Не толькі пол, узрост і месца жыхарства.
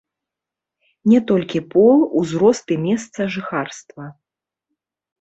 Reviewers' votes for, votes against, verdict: 0, 2, rejected